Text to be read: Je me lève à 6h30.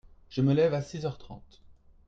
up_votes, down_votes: 0, 2